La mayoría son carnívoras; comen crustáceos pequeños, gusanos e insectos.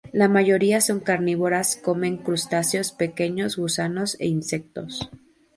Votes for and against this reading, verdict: 2, 0, accepted